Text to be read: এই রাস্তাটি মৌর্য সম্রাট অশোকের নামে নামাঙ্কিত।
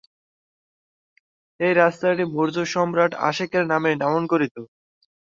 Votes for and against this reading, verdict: 2, 3, rejected